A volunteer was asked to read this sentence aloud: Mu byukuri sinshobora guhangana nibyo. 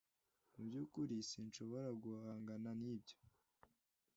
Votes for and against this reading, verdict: 2, 0, accepted